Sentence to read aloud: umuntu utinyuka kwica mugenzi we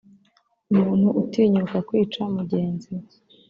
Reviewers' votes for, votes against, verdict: 2, 0, accepted